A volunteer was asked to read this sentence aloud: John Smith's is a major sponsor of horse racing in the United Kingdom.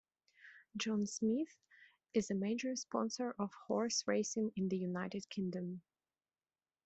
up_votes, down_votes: 2, 1